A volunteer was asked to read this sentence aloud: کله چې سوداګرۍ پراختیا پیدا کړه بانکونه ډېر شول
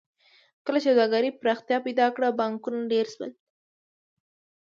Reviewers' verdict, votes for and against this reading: accepted, 2, 0